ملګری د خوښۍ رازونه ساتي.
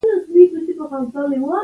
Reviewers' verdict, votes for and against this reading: rejected, 0, 2